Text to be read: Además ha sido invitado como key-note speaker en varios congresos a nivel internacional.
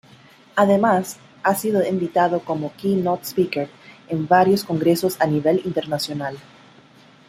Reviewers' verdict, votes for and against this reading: accepted, 2, 0